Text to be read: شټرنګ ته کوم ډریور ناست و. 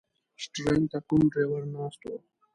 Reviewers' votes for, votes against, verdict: 0, 2, rejected